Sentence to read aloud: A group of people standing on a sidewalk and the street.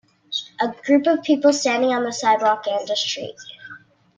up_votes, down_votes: 2, 1